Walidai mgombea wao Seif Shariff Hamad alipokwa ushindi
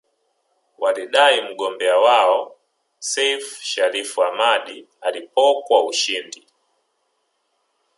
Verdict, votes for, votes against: accepted, 3, 1